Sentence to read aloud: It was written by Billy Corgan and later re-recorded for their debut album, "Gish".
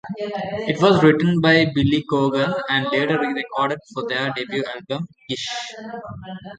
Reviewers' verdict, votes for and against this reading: rejected, 0, 2